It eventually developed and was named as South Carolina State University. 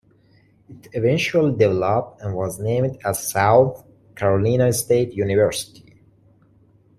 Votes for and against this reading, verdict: 0, 2, rejected